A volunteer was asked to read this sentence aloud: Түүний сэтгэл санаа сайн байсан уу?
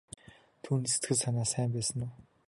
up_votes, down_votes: 1, 2